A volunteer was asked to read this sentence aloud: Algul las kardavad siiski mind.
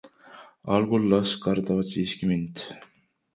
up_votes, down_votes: 2, 0